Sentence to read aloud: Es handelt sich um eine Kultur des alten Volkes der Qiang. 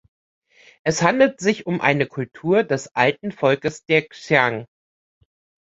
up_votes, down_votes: 0, 2